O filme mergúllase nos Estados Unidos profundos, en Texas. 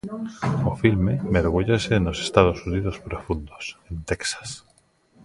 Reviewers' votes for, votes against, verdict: 0, 2, rejected